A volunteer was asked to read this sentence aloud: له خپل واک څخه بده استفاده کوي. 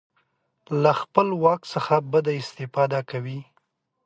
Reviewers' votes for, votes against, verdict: 2, 0, accepted